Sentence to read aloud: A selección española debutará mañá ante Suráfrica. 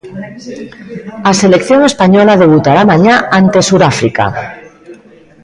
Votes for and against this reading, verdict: 0, 2, rejected